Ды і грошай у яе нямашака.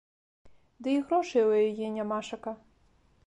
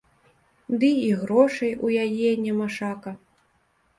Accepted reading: first